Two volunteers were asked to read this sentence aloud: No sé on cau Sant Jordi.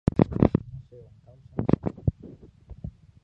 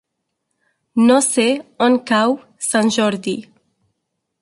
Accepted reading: second